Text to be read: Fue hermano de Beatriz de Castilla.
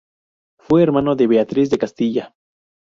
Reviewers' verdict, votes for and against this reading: rejected, 0, 2